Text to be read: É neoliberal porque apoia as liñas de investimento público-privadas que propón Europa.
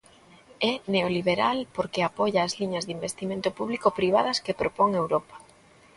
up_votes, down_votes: 2, 0